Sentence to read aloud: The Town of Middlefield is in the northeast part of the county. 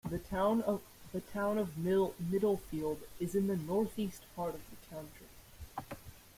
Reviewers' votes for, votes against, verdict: 0, 2, rejected